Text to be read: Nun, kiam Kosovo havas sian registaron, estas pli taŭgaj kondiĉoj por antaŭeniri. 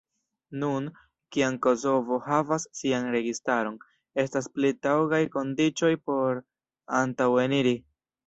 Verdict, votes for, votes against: accepted, 2, 0